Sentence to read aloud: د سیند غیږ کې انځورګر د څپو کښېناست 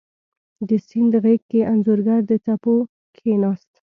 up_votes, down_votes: 2, 0